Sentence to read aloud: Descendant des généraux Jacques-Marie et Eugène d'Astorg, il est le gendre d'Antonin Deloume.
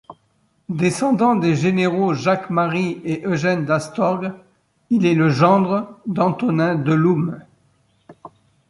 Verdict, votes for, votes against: accepted, 3, 0